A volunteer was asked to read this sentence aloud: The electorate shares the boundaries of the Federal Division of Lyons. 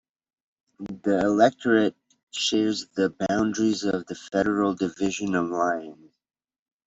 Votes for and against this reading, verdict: 0, 2, rejected